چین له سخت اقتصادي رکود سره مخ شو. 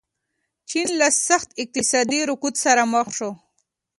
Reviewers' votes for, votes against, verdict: 2, 0, accepted